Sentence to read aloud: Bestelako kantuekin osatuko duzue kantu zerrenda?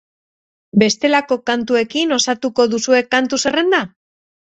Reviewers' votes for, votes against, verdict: 2, 0, accepted